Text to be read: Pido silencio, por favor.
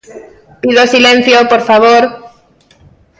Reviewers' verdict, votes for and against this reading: accepted, 2, 0